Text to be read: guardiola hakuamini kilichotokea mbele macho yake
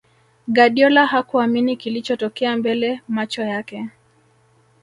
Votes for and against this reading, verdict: 3, 0, accepted